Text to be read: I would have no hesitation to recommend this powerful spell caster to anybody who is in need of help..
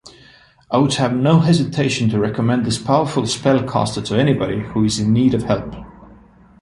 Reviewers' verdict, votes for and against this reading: accepted, 2, 0